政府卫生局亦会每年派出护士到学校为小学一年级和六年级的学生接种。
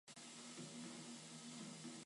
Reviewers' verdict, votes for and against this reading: rejected, 0, 3